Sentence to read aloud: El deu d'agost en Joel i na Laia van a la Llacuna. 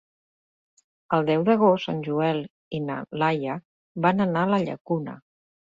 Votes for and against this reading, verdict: 0, 2, rejected